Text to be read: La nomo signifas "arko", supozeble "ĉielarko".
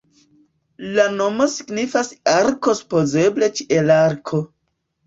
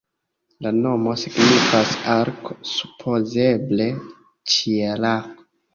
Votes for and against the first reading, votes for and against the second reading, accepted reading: 2, 1, 1, 2, first